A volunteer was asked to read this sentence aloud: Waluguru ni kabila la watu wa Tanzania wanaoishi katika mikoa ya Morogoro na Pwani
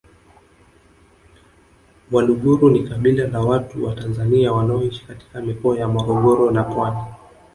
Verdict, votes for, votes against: accepted, 3, 2